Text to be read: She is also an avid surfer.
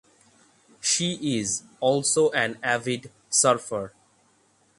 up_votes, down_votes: 3, 3